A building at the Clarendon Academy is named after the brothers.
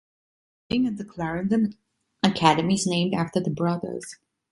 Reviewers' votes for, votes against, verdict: 1, 2, rejected